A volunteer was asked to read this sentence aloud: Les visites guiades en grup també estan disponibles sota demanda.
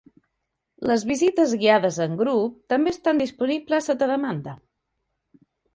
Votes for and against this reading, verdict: 2, 0, accepted